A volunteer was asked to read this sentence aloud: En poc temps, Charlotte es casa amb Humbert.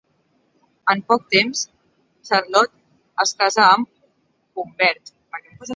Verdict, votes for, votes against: accepted, 2, 1